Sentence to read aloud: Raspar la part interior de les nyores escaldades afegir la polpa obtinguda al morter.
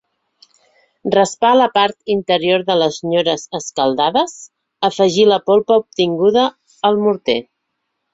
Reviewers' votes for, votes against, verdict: 2, 0, accepted